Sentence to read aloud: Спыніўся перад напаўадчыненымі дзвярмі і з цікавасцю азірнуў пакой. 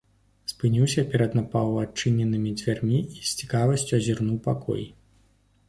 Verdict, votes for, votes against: accepted, 2, 0